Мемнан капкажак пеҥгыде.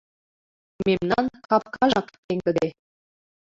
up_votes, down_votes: 2, 1